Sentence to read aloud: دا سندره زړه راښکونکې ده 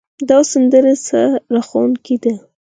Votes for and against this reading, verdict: 4, 2, accepted